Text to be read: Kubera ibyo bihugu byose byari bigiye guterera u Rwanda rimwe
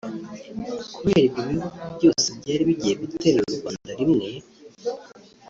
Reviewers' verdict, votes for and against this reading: rejected, 1, 2